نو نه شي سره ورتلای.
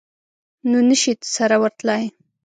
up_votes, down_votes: 2, 0